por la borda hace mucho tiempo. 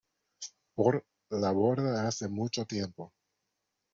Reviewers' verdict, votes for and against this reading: accepted, 2, 1